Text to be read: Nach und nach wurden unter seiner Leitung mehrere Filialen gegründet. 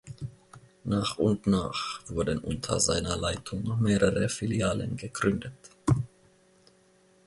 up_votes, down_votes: 2, 0